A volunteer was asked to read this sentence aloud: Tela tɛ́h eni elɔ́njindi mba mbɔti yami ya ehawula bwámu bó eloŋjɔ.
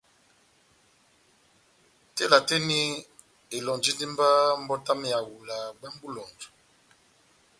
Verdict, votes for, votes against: accepted, 2, 0